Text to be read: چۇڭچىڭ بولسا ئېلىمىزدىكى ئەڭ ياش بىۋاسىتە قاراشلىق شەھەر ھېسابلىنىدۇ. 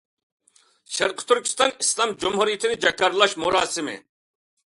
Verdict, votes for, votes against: rejected, 0, 2